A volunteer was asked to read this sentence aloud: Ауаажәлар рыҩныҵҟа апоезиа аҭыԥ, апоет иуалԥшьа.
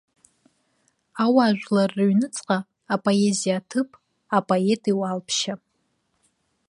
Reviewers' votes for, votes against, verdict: 3, 0, accepted